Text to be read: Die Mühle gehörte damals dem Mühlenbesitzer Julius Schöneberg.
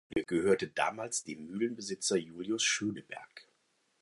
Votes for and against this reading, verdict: 0, 4, rejected